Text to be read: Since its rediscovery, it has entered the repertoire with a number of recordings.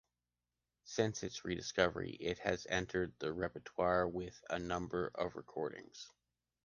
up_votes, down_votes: 2, 0